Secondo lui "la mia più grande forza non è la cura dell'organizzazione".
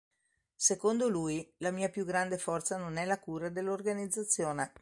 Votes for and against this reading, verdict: 3, 0, accepted